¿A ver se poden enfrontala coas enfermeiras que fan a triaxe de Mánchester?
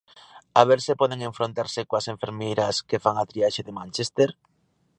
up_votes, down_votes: 0, 2